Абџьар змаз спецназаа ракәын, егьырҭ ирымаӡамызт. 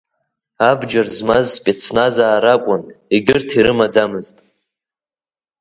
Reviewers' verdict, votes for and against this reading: accepted, 3, 1